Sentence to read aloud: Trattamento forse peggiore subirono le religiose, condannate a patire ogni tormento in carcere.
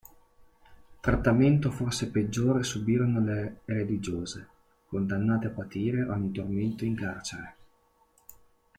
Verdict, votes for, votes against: rejected, 1, 2